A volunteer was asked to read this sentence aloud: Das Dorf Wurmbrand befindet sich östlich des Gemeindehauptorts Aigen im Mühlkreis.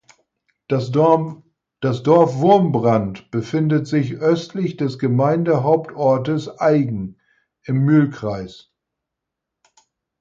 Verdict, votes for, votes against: rejected, 0, 4